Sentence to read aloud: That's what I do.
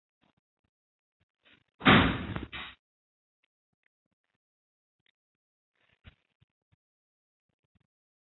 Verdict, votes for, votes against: rejected, 0, 2